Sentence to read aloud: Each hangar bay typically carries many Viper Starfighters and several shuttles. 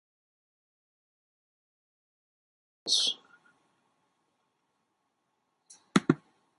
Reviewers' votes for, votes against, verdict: 0, 2, rejected